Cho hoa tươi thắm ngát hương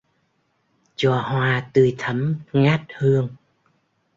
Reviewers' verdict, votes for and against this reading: rejected, 0, 2